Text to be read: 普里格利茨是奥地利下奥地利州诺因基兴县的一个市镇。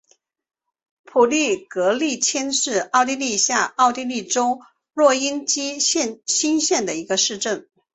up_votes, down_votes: 0, 2